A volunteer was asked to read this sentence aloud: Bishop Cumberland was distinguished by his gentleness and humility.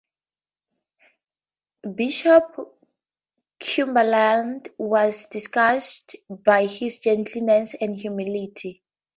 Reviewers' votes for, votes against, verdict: 0, 2, rejected